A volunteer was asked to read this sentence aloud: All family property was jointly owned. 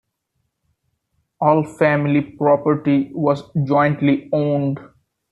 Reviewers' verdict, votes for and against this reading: accepted, 2, 0